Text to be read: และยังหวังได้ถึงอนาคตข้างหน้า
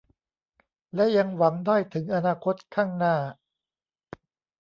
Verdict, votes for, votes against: accepted, 2, 0